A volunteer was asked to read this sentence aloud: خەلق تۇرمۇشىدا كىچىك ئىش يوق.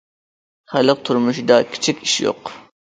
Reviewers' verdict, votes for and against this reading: accepted, 2, 0